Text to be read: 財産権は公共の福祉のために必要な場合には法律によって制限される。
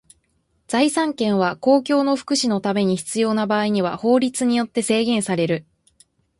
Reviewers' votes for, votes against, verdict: 2, 0, accepted